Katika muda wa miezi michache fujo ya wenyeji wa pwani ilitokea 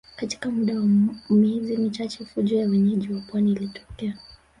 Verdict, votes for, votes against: rejected, 2, 3